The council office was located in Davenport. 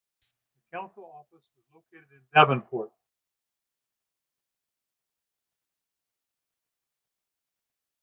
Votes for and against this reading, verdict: 1, 2, rejected